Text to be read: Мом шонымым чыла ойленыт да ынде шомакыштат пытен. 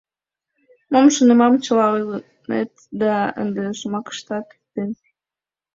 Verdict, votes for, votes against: rejected, 1, 5